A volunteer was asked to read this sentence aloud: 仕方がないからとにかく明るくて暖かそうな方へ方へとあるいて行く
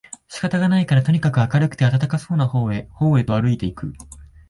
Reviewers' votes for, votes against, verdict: 2, 0, accepted